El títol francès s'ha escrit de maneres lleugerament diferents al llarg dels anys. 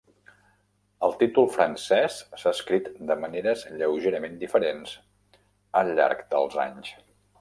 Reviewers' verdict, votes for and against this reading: accepted, 3, 0